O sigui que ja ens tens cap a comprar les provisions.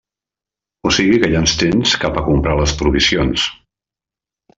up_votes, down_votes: 2, 1